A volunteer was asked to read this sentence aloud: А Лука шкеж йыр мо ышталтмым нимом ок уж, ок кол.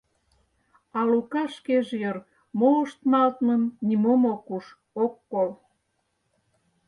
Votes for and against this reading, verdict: 0, 4, rejected